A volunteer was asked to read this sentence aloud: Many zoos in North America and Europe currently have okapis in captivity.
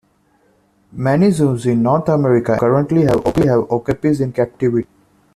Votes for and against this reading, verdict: 0, 2, rejected